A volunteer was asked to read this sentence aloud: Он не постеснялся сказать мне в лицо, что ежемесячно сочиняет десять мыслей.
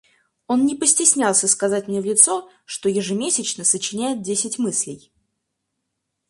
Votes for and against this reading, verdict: 4, 0, accepted